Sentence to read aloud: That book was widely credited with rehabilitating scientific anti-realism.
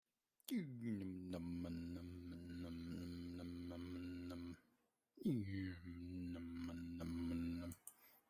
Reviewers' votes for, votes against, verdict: 1, 2, rejected